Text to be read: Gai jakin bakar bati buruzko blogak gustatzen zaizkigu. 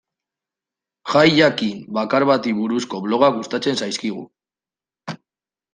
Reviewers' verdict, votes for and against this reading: accepted, 2, 1